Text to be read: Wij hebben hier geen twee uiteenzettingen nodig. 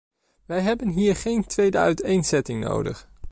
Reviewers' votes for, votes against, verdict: 2, 0, accepted